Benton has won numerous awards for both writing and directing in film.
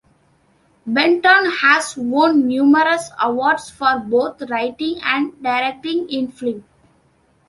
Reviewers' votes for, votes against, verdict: 1, 2, rejected